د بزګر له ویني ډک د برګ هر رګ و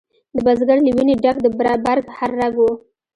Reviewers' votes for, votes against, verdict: 2, 1, accepted